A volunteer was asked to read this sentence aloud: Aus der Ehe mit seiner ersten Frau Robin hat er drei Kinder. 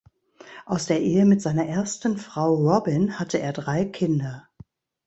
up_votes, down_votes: 0, 2